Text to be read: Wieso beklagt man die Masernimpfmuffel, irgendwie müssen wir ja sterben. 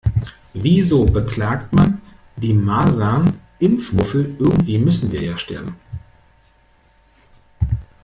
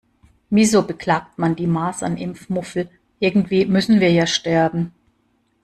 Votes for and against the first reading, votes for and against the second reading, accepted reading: 0, 2, 2, 0, second